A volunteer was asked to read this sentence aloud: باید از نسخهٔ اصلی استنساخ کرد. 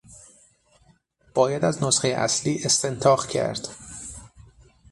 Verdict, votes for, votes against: rejected, 3, 6